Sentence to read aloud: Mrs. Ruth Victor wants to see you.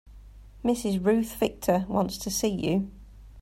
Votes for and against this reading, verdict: 2, 0, accepted